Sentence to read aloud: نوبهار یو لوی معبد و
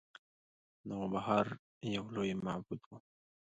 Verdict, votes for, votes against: accepted, 2, 0